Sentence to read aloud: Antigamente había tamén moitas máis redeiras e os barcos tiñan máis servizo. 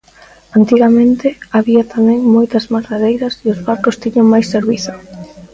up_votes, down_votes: 1, 2